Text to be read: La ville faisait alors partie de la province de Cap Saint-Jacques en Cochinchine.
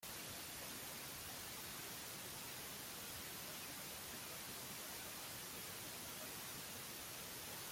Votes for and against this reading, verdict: 0, 2, rejected